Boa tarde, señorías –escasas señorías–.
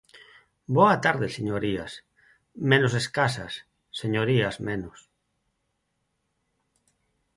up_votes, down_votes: 0, 4